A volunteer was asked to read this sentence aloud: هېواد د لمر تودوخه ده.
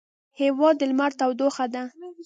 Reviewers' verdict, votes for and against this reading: rejected, 1, 2